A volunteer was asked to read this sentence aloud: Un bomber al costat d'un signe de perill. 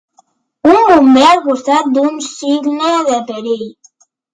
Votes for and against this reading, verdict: 2, 0, accepted